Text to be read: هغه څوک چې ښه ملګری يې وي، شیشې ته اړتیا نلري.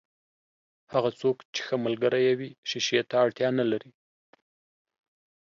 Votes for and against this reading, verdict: 2, 0, accepted